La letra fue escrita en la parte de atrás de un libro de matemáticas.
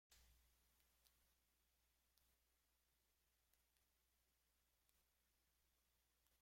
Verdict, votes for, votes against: rejected, 0, 2